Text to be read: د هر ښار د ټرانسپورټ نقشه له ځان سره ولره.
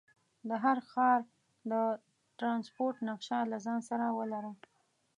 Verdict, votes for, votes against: rejected, 1, 2